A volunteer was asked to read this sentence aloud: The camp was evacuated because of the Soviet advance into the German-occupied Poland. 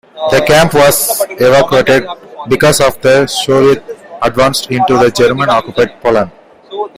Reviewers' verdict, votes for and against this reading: rejected, 0, 2